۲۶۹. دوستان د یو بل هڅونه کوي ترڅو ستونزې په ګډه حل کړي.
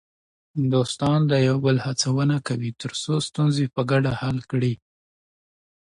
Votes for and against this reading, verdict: 0, 2, rejected